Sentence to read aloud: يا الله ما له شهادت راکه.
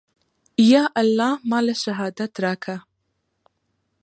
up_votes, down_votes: 1, 2